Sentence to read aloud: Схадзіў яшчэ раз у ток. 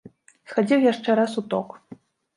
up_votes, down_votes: 2, 0